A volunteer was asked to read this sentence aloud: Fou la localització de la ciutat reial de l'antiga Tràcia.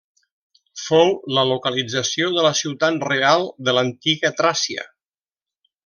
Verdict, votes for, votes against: rejected, 1, 2